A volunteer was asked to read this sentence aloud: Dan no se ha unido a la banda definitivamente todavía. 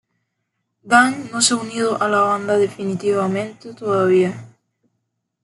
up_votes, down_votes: 2, 0